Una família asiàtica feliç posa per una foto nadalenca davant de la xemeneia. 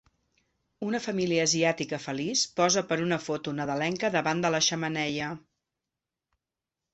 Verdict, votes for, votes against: accepted, 2, 0